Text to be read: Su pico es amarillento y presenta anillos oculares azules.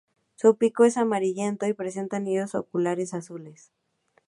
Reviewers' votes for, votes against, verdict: 2, 0, accepted